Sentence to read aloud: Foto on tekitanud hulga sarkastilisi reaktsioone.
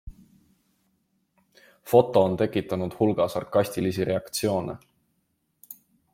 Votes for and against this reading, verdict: 2, 0, accepted